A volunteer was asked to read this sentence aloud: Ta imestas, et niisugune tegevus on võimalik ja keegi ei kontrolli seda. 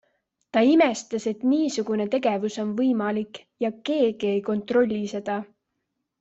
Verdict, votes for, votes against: accepted, 2, 0